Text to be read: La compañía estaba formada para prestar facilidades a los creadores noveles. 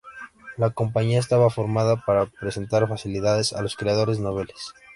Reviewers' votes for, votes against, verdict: 2, 1, accepted